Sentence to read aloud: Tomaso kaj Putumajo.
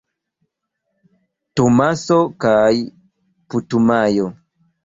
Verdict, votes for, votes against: accepted, 2, 0